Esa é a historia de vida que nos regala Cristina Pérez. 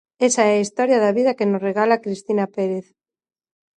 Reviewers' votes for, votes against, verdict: 0, 2, rejected